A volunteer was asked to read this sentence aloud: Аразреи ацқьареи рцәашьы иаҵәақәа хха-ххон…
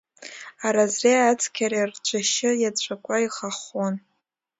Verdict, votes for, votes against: rejected, 0, 2